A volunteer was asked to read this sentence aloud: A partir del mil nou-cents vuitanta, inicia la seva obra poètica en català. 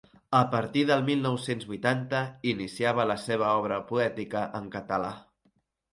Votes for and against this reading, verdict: 0, 3, rejected